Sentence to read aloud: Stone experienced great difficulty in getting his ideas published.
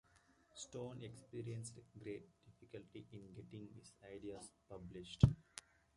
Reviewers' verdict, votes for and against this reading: accepted, 2, 0